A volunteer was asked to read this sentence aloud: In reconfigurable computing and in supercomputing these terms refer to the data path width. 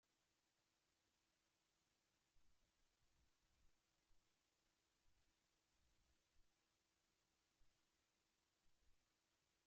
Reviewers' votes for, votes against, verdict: 0, 2, rejected